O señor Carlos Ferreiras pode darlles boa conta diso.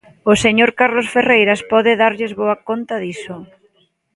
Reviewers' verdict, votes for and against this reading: accepted, 2, 0